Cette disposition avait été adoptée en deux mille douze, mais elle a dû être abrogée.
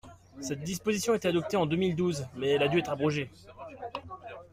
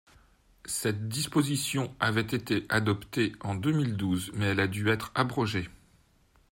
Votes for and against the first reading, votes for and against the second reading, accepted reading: 0, 2, 3, 0, second